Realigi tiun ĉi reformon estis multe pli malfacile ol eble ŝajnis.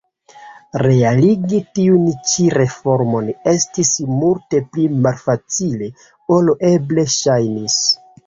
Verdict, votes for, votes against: rejected, 1, 2